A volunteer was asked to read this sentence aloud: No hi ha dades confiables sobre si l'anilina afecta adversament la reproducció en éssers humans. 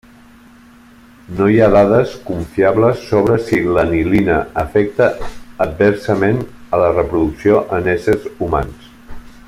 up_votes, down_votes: 0, 2